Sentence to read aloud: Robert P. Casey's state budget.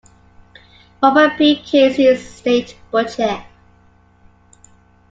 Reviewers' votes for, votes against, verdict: 2, 1, accepted